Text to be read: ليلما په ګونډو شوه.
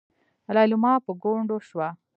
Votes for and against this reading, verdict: 2, 0, accepted